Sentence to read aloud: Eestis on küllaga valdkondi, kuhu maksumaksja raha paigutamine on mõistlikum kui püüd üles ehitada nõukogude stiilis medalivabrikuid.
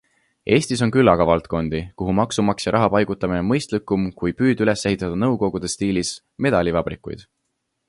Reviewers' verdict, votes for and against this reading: accepted, 2, 0